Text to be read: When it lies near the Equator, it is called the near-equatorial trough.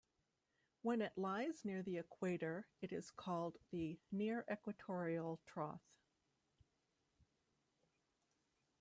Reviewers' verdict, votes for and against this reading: accepted, 2, 1